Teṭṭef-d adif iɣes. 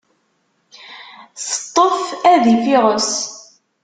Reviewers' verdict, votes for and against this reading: rejected, 1, 2